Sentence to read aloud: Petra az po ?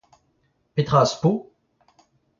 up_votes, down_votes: 2, 1